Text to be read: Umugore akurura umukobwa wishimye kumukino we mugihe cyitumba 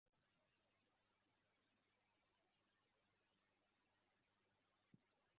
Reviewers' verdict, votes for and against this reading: rejected, 1, 2